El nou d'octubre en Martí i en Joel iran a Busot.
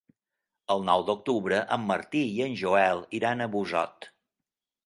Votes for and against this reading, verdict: 3, 0, accepted